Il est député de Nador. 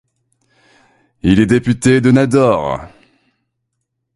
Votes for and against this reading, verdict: 3, 0, accepted